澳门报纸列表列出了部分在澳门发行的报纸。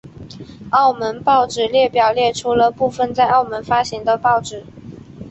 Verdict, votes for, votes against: accepted, 2, 0